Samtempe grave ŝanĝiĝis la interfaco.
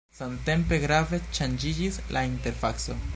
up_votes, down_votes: 0, 2